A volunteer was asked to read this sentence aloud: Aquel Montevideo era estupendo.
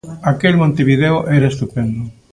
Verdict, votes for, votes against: accepted, 2, 0